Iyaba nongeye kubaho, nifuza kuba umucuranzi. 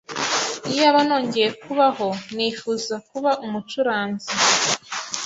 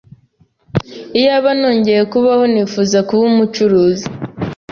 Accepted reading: first